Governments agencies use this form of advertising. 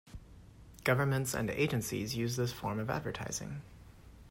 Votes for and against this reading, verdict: 0, 2, rejected